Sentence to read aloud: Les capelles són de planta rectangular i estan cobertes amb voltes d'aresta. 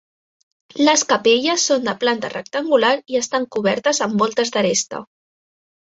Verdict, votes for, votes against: accepted, 3, 0